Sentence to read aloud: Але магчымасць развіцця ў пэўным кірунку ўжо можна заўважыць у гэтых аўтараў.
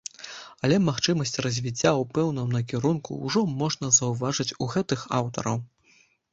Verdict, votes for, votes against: rejected, 0, 2